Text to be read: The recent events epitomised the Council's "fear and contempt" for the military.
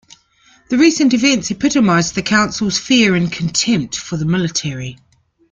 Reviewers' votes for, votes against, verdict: 3, 0, accepted